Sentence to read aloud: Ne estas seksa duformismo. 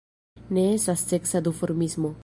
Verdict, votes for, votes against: rejected, 1, 2